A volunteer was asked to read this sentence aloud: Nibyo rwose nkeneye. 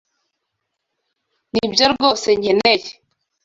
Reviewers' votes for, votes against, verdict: 2, 0, accepted